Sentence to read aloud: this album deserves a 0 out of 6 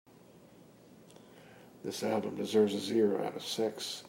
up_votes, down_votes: 0, 2